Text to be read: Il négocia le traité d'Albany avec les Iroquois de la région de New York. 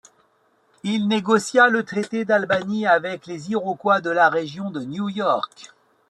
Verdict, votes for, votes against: accepted, 2, 0